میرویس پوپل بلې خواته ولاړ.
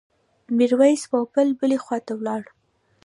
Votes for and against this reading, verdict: 0, 2, rejected